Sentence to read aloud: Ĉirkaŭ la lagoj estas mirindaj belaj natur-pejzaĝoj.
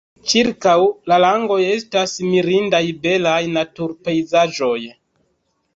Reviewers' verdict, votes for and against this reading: accepted, 2, 1